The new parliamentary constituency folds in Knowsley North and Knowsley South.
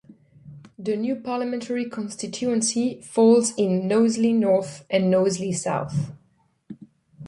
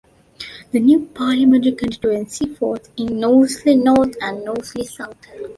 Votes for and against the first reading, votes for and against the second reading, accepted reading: 2, 0, 1, 2, first